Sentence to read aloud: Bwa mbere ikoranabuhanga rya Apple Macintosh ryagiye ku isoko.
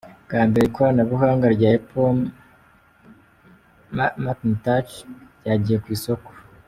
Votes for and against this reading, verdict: 0, 2, rejected